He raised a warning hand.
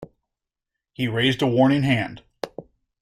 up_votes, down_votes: 2, 0